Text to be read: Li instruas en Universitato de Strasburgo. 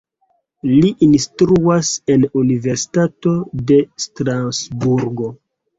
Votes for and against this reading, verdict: 0, 2, rejected